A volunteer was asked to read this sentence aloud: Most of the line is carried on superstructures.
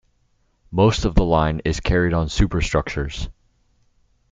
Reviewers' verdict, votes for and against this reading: rejected, 1, 2